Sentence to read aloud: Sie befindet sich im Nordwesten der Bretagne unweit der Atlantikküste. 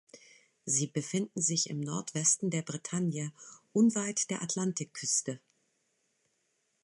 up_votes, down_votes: 1, 2